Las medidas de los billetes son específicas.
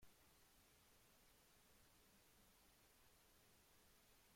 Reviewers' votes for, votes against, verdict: 1, 3, rejected